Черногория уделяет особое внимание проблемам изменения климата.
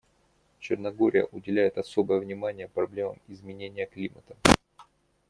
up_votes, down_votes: 0, 2